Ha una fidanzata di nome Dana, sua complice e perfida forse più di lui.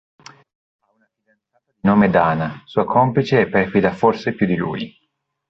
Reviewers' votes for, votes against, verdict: 0, 2, rejected